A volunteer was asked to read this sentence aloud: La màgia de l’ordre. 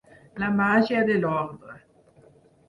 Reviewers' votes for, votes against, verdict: 6, 0, accepted